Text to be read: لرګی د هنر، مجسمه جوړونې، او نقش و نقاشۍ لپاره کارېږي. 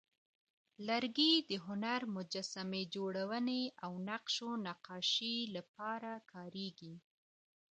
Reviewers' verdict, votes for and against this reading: accepted, 2, 0